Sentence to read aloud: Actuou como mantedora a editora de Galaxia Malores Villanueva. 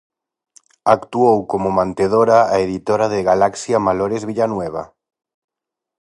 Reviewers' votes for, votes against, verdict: 4, 0, accepted